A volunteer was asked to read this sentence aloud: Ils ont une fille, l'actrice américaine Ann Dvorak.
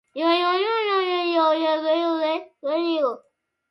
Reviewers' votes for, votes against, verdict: 0, 2, rejected